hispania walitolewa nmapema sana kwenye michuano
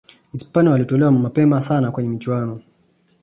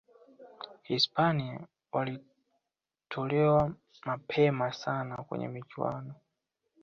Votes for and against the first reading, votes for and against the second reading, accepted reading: 2, 0, 0, 2, first